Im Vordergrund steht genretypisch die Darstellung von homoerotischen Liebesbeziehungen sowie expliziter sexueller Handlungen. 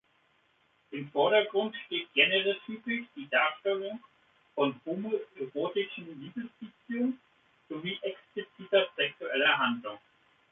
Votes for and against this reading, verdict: 1, 2, rejected